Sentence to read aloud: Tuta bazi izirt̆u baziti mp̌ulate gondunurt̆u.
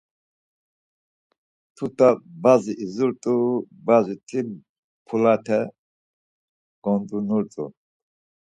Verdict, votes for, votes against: rejected, 2, 4